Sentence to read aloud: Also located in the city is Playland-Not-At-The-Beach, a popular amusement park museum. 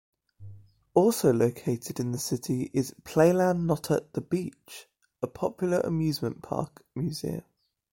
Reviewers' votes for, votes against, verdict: 2, 0, accepted